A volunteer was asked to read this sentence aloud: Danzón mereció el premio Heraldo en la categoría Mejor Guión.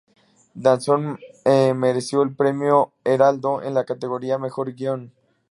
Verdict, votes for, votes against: rejected, 0, 2